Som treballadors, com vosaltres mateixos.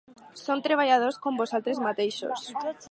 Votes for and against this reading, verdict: 4, 0, accepted